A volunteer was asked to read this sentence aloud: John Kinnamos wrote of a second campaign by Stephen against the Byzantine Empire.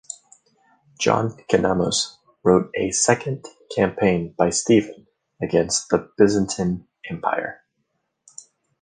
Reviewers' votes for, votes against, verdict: 1, 2, rejected